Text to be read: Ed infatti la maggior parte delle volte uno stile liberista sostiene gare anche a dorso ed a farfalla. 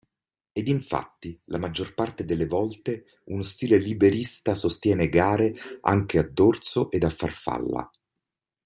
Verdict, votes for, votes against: accepted, 2, 0